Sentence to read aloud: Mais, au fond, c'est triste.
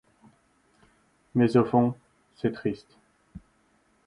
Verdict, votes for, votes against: accepted, 2, 0